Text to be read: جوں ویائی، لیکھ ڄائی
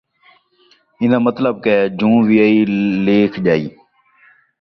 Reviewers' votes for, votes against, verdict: 0, 2, rejected